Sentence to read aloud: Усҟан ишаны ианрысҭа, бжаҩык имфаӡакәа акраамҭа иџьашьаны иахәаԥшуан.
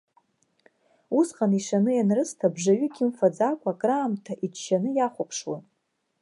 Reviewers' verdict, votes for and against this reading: rejected, 0, 2